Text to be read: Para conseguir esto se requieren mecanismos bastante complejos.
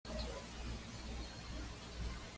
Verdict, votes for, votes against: accepted, 2, 0